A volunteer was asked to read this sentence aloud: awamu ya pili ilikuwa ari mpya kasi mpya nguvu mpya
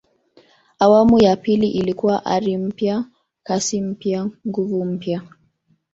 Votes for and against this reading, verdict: 4, 0, accepted